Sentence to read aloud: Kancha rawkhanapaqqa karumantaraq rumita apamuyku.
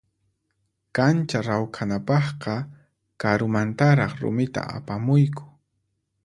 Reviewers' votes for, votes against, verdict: 4, 0, accepted